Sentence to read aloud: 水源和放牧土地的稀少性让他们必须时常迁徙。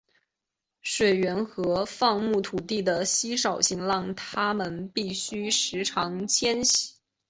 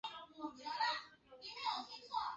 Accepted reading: first